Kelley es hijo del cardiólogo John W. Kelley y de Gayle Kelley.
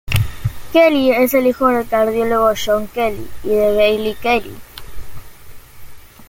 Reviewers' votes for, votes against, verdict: 1, 2, rejected